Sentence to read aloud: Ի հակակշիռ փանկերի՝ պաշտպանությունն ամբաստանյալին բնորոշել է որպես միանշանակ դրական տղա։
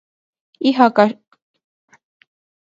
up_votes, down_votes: 0, 2